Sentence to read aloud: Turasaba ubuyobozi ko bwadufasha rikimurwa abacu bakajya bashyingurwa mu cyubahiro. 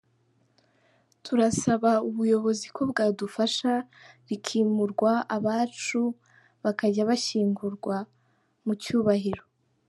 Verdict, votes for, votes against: accepted, 2, 0